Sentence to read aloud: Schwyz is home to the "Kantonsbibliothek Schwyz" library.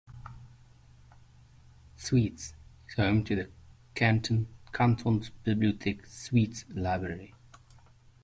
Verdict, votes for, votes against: accepted, 2, 1